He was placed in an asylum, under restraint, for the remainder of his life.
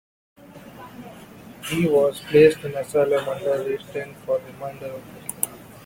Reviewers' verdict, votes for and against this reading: rejected, 0, 2